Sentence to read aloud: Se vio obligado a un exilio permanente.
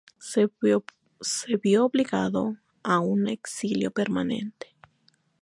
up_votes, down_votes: 2, 0